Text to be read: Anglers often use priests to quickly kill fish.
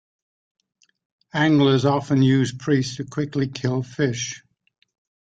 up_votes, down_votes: 2, 0